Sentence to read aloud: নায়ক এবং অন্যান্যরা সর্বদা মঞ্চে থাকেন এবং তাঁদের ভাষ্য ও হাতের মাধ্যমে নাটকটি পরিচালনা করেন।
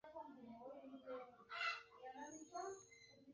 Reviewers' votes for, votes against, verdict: 0, 2, rejected